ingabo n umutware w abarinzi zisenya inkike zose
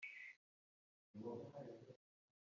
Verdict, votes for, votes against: rejected, 1, 2